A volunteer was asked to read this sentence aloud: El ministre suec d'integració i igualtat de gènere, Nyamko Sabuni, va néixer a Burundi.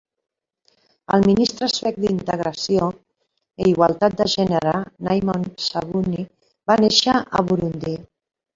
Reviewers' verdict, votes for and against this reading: rejected, 0, 2